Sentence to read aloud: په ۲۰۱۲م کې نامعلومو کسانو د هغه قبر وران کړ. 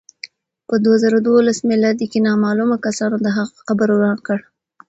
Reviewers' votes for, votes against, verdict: 0, 2, rejected